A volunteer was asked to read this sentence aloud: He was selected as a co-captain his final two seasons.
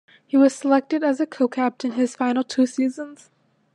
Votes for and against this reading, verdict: 2, 0, accepted